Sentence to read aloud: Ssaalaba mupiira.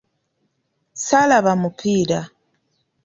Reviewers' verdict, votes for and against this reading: accepted, 2, 0